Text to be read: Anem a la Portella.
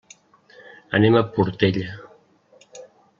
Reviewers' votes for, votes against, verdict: 1, 2, rejected